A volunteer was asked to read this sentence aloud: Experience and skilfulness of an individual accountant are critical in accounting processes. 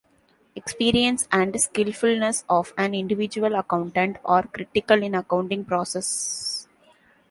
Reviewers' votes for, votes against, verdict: 0, 2, rejected